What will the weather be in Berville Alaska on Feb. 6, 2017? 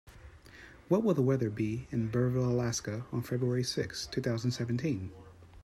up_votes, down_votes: 0, 2